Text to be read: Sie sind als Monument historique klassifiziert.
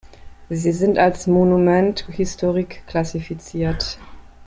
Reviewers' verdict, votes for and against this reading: accepted, 2, 0